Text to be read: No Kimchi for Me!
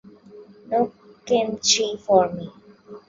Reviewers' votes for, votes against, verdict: 1, 2, rejected